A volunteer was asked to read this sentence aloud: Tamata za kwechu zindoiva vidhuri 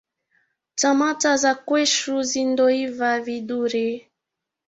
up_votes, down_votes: 7, 0